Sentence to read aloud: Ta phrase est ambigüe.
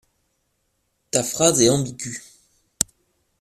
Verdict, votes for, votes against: rejected, 0, 2